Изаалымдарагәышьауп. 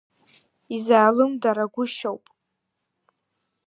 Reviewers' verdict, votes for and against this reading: accepted, 2, 0